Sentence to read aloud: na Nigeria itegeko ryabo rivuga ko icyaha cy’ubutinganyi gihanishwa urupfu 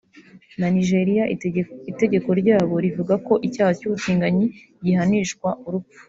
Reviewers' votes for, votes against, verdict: 1, 3, rejected